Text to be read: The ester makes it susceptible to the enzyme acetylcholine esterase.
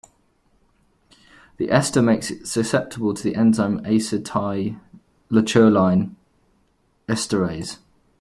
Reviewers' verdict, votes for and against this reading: rejected, 1, 2